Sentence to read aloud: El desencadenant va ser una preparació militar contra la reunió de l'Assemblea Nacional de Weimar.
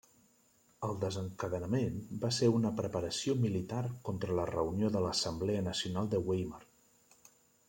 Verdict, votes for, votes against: rejected, 0, 2